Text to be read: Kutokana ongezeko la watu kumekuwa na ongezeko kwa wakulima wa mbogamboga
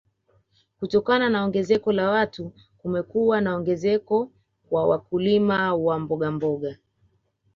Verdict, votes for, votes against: accepted, 2, 1